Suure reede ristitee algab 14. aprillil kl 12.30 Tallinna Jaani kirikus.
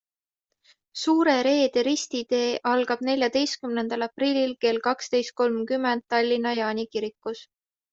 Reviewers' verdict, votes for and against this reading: rejected, 0, 2